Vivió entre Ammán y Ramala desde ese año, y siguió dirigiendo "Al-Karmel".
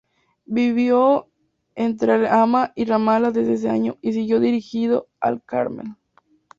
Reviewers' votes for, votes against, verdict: 0, 2, rejected